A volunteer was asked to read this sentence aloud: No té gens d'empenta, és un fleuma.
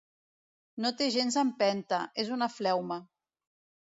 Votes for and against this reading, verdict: 1, 2, rejected